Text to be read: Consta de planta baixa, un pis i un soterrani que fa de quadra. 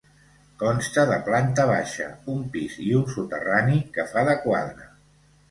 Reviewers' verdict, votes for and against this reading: accepted, 2, 0